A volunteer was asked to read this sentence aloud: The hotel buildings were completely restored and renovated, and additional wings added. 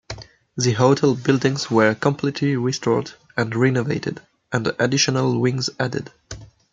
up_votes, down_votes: 2, 0